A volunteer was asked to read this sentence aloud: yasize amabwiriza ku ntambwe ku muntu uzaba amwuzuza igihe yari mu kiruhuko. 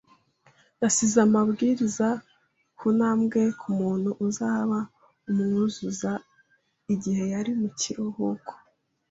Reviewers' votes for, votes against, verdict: 2, 0, accepted